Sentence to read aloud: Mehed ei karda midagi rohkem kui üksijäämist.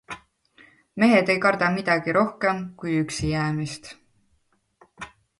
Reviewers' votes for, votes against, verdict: 2, 0, accepted